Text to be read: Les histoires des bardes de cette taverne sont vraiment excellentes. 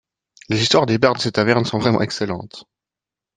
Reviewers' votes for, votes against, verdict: 0, 2, rejected